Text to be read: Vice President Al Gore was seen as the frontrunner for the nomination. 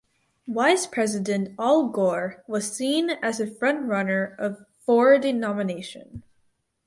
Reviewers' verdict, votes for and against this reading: rejected, 0, 4